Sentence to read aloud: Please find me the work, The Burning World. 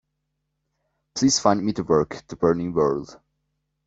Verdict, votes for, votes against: accepted, 2, 0